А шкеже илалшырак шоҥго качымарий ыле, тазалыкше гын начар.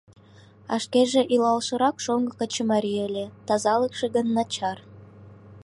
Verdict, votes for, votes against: accepted, 2, 0